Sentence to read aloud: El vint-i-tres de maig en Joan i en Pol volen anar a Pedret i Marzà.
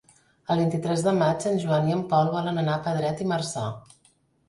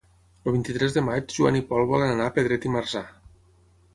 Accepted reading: first